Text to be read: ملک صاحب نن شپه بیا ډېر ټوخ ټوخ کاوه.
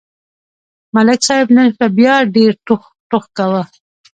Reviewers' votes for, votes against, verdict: 2, 1, accepted